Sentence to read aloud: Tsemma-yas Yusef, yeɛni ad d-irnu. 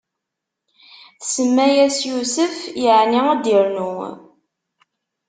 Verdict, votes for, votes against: accepted, 2, 0